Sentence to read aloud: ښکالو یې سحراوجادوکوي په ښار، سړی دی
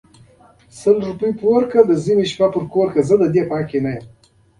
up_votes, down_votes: 0, 2